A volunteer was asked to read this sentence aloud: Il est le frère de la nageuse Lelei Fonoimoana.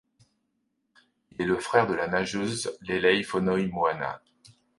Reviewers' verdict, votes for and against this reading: accepted, 2, 0